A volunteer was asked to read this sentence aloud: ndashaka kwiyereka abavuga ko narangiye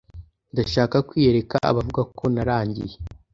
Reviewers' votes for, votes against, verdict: 2, 0, accepted